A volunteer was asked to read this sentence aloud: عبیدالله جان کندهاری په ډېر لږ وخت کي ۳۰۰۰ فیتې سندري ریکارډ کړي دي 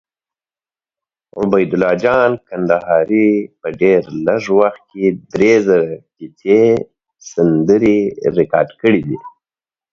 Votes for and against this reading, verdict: 0, 2, rejected